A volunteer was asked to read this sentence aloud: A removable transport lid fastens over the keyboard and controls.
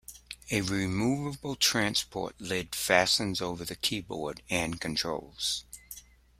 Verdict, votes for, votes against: accepted, 2, 0